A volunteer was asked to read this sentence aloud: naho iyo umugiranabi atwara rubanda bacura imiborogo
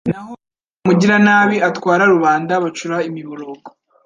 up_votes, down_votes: 0, 2